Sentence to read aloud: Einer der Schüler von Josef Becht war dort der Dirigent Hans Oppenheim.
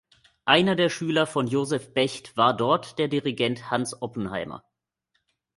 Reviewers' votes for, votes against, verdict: 0, 2, rejected